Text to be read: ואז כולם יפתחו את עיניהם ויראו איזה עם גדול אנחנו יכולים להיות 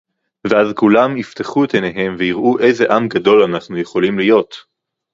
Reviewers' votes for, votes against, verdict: 4, 0, accepted